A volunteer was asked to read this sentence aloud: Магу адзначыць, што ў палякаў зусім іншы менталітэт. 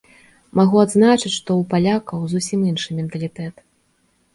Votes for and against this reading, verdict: 2, 0, accepted